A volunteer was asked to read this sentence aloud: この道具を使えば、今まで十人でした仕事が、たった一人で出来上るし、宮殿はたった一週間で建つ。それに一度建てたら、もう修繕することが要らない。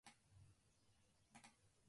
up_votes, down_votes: 0, 2